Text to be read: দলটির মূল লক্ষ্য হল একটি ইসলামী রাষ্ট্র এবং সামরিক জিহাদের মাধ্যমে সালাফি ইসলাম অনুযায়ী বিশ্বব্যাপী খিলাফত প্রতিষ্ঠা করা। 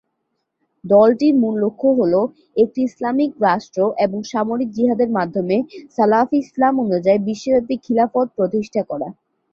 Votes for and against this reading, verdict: 2, 2, rejected